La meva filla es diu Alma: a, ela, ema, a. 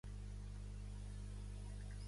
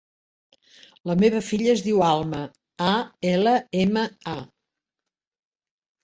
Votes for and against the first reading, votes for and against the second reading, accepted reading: 0, 2, 2, 0, second